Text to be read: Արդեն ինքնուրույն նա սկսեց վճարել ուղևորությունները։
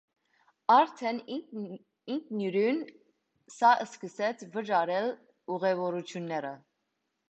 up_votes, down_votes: 0, 2